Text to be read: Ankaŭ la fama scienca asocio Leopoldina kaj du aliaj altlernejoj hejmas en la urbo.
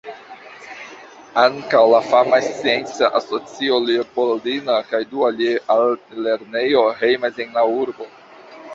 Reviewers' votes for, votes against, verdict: 1, 2, rejected